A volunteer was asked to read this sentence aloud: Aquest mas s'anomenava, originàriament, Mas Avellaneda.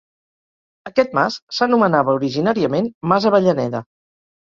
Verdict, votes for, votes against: accepted, 4, 0